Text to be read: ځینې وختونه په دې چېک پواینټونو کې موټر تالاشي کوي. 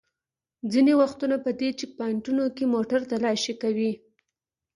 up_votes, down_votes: 2, 0